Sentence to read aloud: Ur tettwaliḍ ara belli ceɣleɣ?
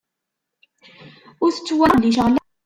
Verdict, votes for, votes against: rejected, 0, 2